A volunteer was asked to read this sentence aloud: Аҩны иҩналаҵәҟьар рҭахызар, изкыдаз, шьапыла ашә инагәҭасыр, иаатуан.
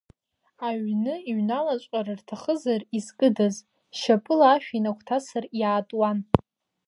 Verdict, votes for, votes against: accepted, 2, 1